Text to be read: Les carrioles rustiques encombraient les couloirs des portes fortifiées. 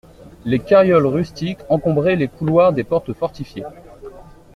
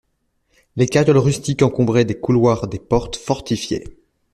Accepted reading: first